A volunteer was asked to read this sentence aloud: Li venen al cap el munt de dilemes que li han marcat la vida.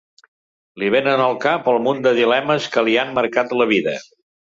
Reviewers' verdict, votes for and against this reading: accepted, 2, 0